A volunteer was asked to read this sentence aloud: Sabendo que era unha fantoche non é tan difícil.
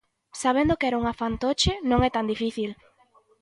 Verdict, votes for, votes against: accepted, 3, 0